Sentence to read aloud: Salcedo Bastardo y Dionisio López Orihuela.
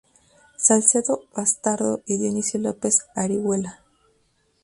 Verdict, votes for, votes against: accepted, 2, 0